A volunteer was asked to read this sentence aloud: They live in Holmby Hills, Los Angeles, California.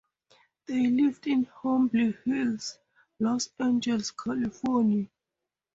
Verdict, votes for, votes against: accepted, 4, 0